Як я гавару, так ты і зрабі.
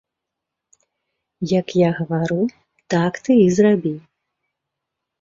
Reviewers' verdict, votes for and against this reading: accepted, 2, 0